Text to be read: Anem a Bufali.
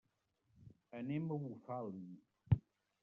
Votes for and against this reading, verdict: 1, 2, rejected